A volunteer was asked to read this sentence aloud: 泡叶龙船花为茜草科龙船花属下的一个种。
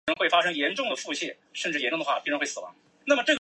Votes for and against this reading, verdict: 0, 4, rejected